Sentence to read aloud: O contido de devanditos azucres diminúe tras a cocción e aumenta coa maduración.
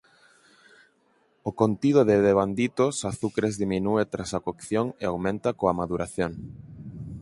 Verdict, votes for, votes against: accepted, 4, 0